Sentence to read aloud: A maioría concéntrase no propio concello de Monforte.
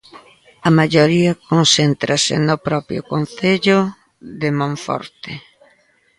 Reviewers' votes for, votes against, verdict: 1, 2, rejected